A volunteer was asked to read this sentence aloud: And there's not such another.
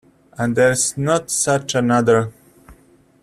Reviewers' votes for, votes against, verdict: 2, 0, accepted